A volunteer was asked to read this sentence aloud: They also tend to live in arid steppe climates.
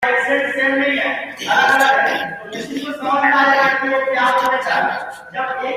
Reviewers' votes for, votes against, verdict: 0, 2, rejected